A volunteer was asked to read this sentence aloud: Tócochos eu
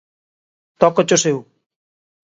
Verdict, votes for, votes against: accepted, 2, 0